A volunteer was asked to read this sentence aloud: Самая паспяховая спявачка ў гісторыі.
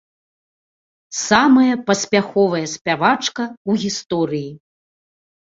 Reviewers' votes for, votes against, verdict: 2, 0, accepted